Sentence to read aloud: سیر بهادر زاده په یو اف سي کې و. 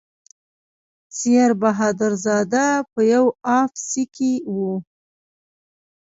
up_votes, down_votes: 1, 2